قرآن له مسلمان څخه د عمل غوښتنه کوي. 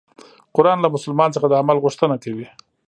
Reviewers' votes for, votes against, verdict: 2, 0, accepted